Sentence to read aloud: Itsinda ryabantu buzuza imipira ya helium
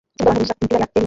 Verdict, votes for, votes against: rejected, 0, 2